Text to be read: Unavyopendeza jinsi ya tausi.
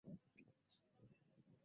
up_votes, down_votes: 0, 2